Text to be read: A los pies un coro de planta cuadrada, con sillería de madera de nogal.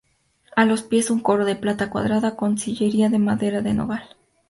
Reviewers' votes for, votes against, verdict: 2, 0, accepted